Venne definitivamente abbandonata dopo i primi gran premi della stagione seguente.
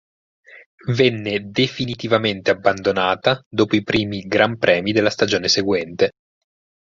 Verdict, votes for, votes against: accepted, 4, 0